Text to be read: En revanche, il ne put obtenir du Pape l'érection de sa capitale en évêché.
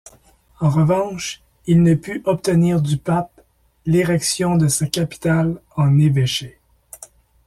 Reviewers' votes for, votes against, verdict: 2, 0, accepted